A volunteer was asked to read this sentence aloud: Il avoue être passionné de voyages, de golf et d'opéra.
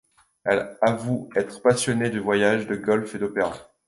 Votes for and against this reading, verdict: 0, 2, rejected